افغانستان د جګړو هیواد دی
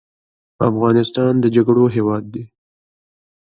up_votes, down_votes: 2, 0